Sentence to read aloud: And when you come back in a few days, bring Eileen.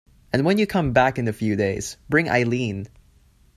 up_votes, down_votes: 2, 0